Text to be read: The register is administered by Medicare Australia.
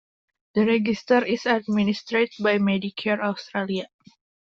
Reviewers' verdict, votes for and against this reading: rejected, 1, 2